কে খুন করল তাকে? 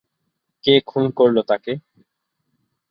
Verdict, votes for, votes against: accepted, 2, 0